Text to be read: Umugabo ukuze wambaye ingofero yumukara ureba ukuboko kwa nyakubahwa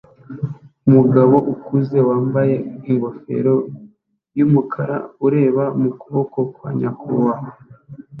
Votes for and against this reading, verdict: 0, 2, rejected